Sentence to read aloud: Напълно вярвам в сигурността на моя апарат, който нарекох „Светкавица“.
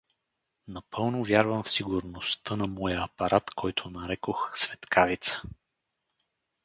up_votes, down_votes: 4, 0